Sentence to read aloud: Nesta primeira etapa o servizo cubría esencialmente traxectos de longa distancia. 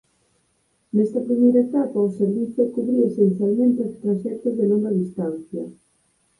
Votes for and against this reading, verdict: 2, 4, rejected